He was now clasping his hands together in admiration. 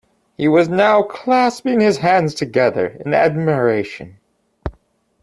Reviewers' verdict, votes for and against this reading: accepted, 2, 0